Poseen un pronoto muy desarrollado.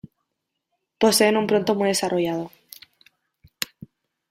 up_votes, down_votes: 1, 2